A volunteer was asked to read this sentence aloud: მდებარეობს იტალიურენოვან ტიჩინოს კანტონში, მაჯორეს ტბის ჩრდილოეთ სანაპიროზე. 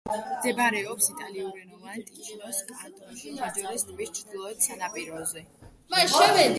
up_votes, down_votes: 1, 2